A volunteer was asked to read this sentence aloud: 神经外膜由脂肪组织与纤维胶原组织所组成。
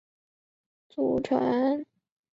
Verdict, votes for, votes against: rejected, 0, 2